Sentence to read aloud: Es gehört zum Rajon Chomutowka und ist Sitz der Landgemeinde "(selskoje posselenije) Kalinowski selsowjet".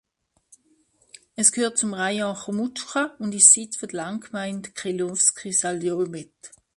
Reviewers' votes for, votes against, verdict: 0, 2, rejected